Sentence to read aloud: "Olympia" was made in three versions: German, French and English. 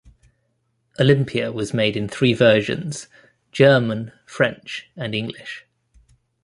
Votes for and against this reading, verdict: 2, 0, accepted